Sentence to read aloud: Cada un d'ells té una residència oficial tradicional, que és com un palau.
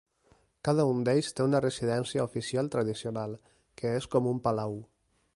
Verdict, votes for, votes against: accepted, 2, 0